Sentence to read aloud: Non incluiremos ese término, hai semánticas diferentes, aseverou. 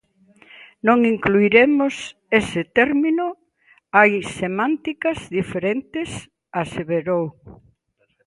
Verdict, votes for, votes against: accepted, 2, 0